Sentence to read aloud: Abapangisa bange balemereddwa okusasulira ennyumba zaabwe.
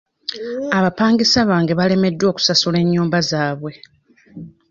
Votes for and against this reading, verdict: 1, 2, rejected